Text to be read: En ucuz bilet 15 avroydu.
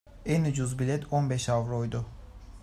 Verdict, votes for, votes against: rejected, 0, 2